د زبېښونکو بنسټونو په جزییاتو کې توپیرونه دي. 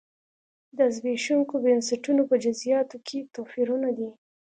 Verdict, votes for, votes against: accepted, 2, 0